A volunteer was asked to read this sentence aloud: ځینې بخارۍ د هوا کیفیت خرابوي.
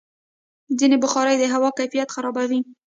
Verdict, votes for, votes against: accepted, 3, 0